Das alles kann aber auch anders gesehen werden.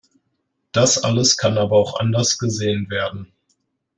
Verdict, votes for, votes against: accepted, 2, 0